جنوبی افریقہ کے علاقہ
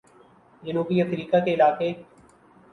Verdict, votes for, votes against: accepted, 5, 0